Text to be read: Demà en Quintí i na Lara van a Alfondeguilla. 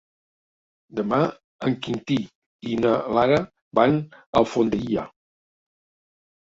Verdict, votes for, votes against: rejected, 0, 2